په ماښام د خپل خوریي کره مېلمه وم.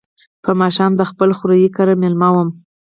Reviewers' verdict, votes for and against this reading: rejected, 2, 4